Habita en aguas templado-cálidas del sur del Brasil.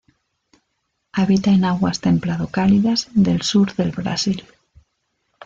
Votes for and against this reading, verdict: 2, 1, accepted